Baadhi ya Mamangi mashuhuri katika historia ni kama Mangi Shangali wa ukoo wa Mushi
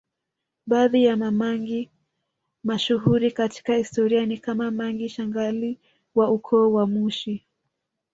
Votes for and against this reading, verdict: 1, 2, rejected